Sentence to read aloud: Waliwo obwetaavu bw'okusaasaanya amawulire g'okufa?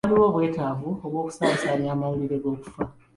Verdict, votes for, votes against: accepted, 2, 1